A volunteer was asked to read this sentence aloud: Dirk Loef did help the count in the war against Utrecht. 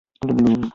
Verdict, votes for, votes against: rejected, 0, 2